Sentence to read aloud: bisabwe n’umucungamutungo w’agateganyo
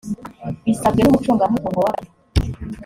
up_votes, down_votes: 0, 2